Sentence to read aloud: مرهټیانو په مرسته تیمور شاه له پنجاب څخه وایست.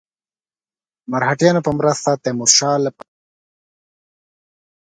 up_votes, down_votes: 1, 2